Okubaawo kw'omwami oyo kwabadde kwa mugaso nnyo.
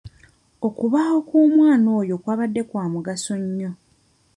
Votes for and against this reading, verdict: 1, 2, rejected